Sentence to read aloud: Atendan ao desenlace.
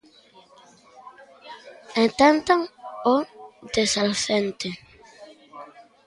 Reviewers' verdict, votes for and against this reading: rejected, 0, 2